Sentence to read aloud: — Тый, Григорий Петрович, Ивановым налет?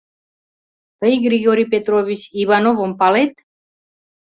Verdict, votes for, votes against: rejected, 1, 2